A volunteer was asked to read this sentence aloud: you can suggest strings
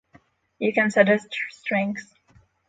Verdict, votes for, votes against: rejected, 0, 6